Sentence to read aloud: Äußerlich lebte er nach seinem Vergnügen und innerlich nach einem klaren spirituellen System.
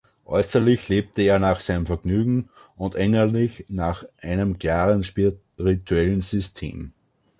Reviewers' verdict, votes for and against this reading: rejected, 0, 2